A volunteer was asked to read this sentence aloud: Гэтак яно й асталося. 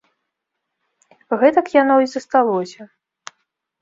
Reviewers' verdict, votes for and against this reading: rejected, 0, 2